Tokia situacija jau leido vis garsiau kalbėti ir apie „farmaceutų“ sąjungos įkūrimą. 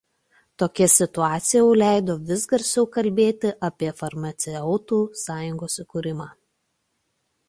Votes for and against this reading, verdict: 1, 2, rejected